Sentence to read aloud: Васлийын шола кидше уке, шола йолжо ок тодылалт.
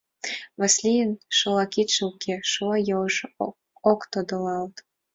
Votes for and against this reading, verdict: 2, 1, accepted